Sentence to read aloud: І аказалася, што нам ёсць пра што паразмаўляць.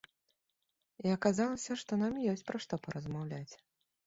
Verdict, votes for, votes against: accepted, 3, 0